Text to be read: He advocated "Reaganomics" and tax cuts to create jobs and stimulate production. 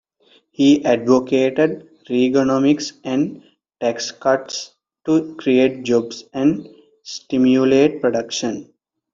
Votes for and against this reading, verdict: 3, 0, accepted